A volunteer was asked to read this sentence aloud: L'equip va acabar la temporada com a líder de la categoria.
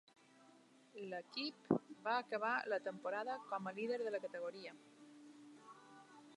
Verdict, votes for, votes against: accepted, 2, 0